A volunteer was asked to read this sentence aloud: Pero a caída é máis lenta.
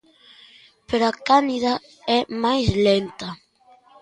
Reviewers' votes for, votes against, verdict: 0, 2, rejected